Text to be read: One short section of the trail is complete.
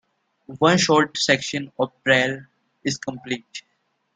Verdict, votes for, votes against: rejected, 0, 2